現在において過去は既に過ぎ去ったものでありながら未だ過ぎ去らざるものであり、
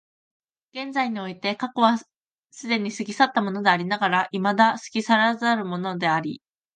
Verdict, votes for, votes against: accepted, 2, 1